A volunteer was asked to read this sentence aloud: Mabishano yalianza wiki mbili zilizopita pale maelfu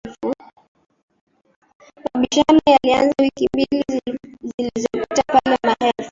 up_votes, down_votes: 0, 2